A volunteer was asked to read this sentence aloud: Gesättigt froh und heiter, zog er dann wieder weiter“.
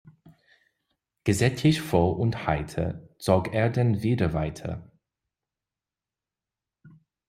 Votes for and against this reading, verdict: 2, 0, accepted